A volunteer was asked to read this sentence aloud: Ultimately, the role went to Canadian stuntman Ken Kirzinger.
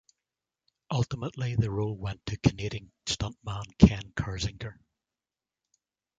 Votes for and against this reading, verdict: 3, 0, accepted